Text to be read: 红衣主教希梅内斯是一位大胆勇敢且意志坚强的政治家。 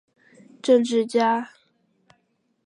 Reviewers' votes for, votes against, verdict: 0, 5, rejected